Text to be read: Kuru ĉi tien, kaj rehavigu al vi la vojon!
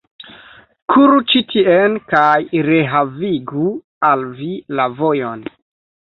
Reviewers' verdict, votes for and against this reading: rejected, 1, 2